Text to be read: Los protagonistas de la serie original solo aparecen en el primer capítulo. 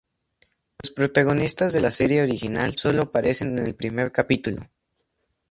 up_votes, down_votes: 4, 0